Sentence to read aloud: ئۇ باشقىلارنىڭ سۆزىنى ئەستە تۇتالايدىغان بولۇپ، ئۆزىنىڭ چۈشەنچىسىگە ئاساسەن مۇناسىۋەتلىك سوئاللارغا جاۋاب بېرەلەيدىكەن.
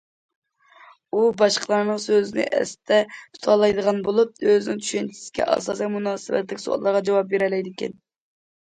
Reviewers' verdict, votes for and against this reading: accepted, 2, 0